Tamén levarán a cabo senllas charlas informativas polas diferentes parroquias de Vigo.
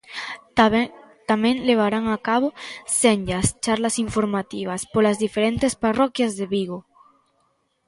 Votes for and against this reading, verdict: 0, 2, rejected